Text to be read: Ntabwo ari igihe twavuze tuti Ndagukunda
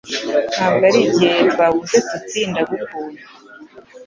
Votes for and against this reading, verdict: 2, 0, accepted